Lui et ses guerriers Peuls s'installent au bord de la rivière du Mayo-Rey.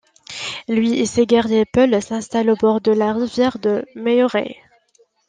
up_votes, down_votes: 1, 2